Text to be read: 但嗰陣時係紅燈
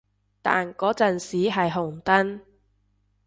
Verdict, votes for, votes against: accepted, 2, 0